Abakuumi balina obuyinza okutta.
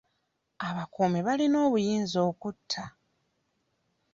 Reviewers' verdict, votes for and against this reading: accepted, 3, 1